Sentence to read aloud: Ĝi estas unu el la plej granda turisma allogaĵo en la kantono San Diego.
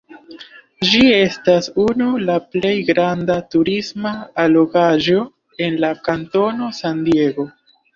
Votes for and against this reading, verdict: 1, 2, rejected